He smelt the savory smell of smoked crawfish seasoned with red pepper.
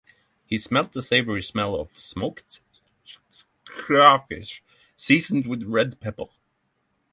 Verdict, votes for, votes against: rejected, 3, 3